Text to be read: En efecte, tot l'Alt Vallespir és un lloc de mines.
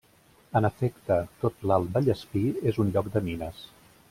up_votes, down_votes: 2, 0